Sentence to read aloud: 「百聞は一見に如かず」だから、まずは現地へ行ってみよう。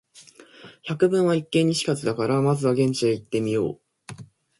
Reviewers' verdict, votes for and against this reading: accepted, 2, 0